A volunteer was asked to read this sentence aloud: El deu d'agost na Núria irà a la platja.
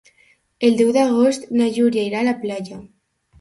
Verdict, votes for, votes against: rejected, 1, 2